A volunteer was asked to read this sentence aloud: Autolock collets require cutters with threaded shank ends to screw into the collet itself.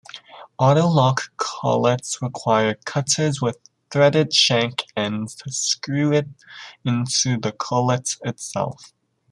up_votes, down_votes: 0, 2